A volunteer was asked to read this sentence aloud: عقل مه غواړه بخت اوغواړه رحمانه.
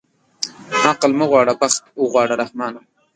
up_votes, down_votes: 1, 2